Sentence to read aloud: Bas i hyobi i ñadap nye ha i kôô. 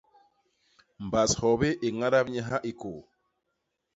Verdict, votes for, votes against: rejected, 0, 2